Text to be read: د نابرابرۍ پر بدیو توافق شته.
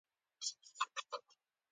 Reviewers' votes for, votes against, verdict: 1, 2, rejected